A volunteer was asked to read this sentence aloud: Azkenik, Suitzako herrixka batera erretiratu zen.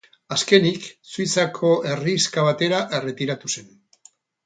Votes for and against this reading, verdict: 8, 0, accepted